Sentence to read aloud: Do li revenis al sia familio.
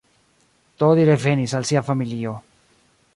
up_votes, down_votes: 2, 0